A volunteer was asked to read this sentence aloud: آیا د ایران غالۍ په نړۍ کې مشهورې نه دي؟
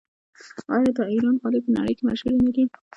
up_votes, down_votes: 1, 2